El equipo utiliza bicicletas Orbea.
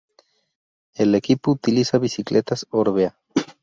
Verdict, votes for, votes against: rejected, 0, 2